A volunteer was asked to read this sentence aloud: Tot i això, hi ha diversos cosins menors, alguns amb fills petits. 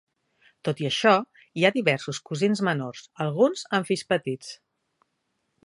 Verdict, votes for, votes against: accepted, 3, 1